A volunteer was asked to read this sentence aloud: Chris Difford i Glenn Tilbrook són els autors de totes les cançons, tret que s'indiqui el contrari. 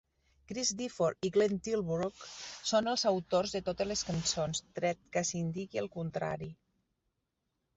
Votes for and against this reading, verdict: 2, 1, accepted